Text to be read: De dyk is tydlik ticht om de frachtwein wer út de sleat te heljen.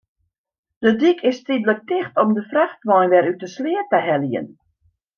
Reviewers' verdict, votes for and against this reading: accepted, 2, 0